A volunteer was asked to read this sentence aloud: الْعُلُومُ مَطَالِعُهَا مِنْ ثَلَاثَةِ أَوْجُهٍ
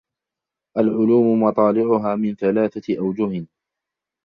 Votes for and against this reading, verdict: 0, 2, rejected